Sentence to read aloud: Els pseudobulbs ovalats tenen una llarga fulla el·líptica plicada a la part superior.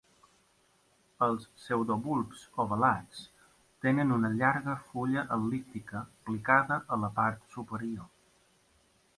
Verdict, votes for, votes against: accepted, 2, 0